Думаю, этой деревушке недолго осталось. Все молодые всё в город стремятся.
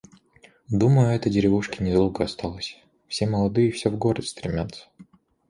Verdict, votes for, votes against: accepted, 2, 0